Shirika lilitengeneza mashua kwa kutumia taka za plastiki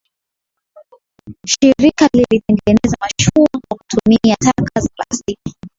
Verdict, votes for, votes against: accepted, 3, 0